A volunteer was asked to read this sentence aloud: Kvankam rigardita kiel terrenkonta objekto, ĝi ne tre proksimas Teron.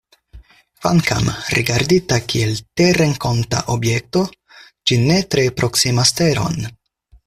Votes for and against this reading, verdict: 4, 0, accepted